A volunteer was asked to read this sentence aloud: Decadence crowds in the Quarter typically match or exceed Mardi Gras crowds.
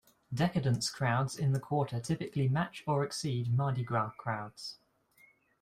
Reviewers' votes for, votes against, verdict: 2, 0, accepted